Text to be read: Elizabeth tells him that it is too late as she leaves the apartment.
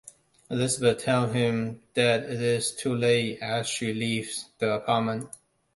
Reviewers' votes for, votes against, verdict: 0, 2, rejected